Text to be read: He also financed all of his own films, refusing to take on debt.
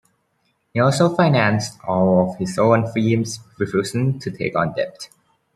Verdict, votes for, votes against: accepted, 2, 1